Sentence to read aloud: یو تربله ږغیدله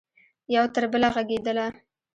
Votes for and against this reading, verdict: 1, 2, rejected